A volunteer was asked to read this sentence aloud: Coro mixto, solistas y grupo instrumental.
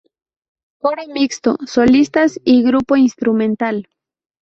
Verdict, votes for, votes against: rejected, 0, 4